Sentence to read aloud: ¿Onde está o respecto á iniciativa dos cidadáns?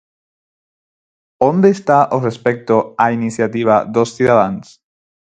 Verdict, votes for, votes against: accepted, 4, 0